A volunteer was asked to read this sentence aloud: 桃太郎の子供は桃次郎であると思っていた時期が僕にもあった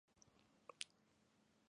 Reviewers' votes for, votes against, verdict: 0, 2, rejected